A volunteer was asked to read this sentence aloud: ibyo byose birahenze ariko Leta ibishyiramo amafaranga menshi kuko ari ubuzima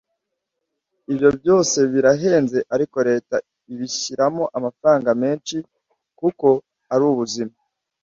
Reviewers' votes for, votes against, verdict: 2, 0, accepted